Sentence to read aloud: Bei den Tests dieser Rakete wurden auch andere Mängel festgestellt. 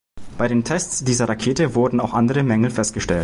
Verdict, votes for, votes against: rejected, 1, 2